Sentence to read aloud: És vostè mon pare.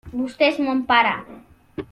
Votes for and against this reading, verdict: 0, 2, rejected